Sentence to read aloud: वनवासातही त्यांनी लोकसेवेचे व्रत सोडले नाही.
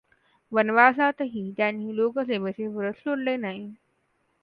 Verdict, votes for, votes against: accepted, 2, 0